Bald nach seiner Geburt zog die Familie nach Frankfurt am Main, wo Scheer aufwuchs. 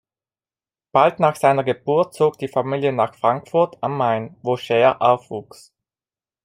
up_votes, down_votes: 2, 0